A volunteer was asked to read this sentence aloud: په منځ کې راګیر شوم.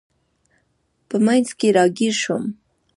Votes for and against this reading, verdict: 2, 0, accepted